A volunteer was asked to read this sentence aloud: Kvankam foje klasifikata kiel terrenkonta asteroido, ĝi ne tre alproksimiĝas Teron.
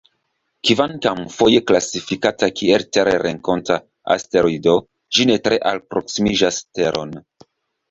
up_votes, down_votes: 2, 0